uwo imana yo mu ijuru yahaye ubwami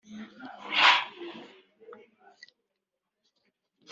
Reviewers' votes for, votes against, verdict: 0, 2, rejected